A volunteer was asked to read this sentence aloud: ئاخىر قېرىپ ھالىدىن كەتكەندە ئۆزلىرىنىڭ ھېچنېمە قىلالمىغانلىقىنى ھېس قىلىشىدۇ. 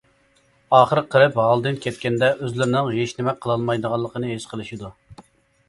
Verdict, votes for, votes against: rejected, 0, 2